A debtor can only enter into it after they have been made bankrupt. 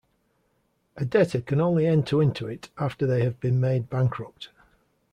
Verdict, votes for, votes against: accepted, 2, 0